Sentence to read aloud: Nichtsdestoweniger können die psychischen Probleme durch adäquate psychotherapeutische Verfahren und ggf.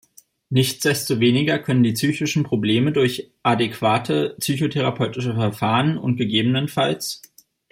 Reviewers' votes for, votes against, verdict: 1, 2, rejected